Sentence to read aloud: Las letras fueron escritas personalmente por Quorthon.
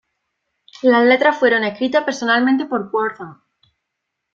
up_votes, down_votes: 2, 0